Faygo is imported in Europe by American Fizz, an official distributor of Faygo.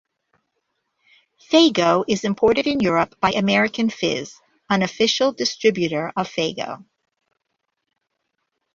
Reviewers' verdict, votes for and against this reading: accepted, 2, 0